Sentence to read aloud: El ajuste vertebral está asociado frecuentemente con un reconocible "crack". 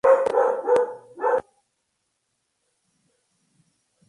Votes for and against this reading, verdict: 0, 2, rejected